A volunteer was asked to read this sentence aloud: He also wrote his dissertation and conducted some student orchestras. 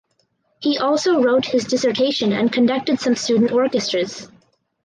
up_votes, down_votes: 4, 0